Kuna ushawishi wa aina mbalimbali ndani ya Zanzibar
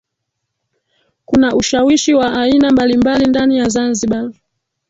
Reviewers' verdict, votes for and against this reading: rejected, 1, 3